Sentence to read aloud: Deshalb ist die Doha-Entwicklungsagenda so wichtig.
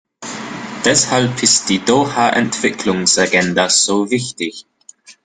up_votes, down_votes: 2, 1